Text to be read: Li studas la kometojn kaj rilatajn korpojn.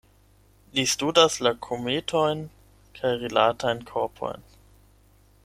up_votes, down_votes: 8, 0